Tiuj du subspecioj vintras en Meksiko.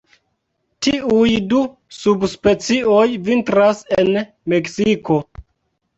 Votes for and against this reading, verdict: 3, 1, accepted